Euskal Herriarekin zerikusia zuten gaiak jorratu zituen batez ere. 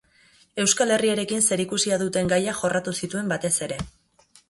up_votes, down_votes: 0, 2